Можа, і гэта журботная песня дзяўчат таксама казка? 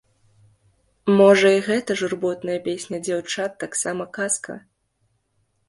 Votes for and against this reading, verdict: 2, 0, accepted